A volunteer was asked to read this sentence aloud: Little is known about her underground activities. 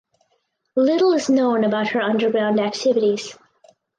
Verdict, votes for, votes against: accepted, 4, 0